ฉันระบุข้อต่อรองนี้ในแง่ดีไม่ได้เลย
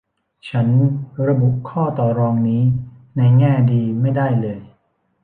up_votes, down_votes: 2, 0